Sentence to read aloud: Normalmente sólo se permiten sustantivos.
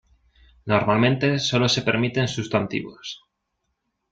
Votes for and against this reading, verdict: 2, 0, accepted